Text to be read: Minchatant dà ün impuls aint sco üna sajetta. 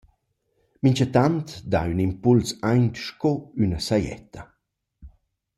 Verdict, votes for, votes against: accepted, 2, 0